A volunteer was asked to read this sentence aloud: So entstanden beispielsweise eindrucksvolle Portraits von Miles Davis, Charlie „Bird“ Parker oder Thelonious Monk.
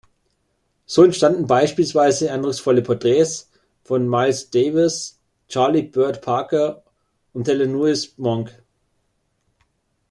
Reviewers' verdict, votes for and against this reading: rejected, 1, 2